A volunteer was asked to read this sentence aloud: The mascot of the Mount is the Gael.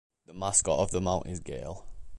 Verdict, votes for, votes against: accepted, 2, 1